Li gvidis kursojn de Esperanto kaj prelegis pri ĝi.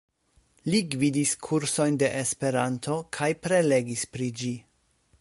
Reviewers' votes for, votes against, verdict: 2, 0, accepted